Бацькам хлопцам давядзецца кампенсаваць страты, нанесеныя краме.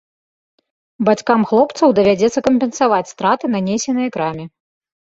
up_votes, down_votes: 2, 1